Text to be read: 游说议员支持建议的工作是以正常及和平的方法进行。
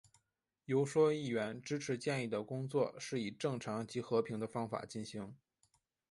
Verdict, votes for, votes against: accepted, 4, 0